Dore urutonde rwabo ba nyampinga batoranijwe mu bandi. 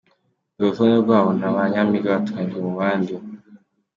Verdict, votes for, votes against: rejected, 1, 2